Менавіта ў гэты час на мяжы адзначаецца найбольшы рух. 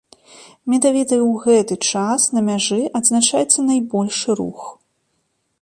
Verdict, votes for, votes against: rejected, 1, 2